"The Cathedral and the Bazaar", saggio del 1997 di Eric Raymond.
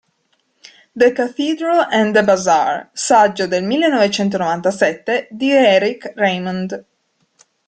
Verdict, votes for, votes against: rejected, 0, 2